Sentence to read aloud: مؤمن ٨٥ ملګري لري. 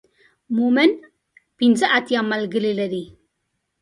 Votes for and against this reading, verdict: 0, 2, rejected